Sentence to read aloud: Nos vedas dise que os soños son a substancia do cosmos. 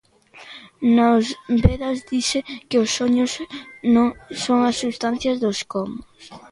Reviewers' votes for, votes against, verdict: 0, 2, rejected